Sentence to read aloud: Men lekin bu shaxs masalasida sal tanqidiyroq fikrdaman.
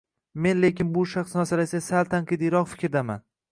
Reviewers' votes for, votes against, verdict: 2, 1, accepted